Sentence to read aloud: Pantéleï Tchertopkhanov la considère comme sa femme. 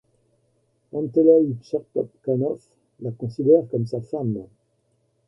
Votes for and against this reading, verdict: 1, 2, rejected